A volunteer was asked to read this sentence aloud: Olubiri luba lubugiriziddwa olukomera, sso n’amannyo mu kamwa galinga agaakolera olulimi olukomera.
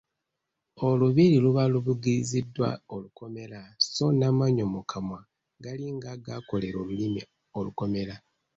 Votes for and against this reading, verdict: 2, 0, accepted